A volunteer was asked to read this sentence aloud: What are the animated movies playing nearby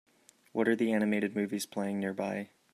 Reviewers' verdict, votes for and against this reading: accepted, 2, 0